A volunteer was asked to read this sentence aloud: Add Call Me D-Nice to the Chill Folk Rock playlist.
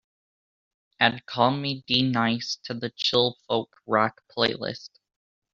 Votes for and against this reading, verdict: 2, 1, accepted